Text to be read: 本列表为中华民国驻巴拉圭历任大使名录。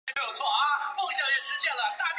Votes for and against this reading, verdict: 2, 4, rejected